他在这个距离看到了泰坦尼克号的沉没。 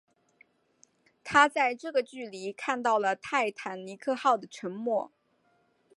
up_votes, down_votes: 2, 3